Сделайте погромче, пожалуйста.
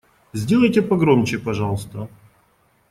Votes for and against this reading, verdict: 2, 0, accepted